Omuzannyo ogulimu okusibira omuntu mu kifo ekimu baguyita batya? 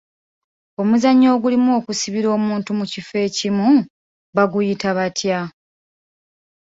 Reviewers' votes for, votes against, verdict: 2, 1, accepted